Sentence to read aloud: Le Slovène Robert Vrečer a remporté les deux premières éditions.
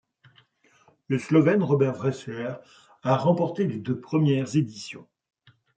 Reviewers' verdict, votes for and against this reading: accepted, 2, 1